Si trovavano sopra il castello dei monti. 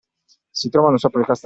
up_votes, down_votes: 1, 2